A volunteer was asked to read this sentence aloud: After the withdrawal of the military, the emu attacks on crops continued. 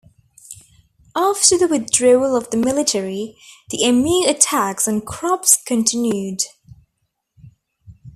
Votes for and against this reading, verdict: 1, 2, rejected